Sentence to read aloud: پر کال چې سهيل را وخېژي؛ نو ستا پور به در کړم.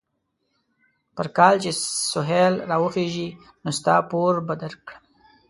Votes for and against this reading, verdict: 0, 2, rejected